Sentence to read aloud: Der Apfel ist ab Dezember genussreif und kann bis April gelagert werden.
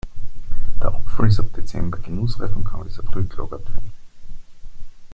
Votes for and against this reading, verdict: 2, 0, accepted